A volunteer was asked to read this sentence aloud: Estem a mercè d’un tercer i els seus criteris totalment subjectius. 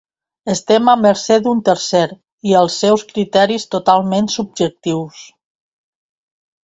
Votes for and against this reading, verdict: 2, 0, accepted